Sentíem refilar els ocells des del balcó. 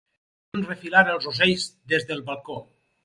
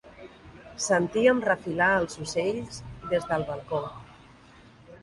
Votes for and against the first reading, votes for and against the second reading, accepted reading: 0, 4, 3, 0, second